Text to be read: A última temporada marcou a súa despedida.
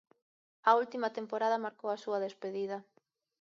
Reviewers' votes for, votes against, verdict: 2, 0, accepted